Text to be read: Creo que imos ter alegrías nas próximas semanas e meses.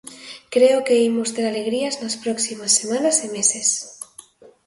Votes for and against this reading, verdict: 2, 0, accepted